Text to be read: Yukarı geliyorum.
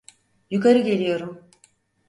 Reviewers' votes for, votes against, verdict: 4, 0, accepted